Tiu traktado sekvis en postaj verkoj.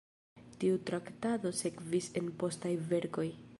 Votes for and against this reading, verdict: 0, 2, rejected